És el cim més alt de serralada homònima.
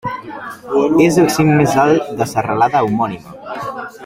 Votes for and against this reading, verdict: 1, 2, rejected